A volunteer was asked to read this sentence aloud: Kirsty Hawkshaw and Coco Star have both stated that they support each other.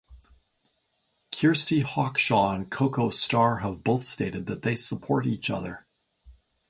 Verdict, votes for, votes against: accepted, 2, 0